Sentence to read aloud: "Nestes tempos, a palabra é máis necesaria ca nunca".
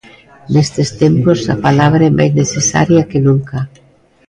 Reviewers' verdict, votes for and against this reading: rejected, 0, 2